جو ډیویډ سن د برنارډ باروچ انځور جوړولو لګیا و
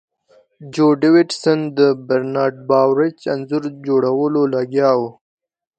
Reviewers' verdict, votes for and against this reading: accepted, 2, 0